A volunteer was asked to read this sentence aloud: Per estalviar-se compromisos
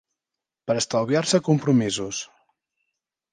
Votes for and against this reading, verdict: 3, 0, accepted